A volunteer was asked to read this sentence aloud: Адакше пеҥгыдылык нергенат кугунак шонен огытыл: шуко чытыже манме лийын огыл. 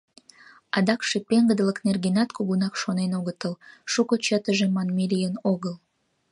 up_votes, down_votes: 2, 0